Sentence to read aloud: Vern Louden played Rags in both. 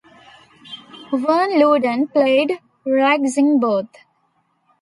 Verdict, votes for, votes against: accepted, 2, 1